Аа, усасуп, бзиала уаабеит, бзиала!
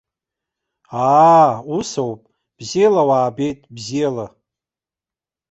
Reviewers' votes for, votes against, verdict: 1, 2, rejected